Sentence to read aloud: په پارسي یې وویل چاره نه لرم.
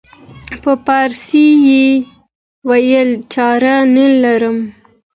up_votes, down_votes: 2, 1